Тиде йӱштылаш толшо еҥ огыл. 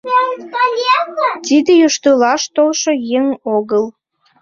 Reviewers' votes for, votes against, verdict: 1, 2, rejected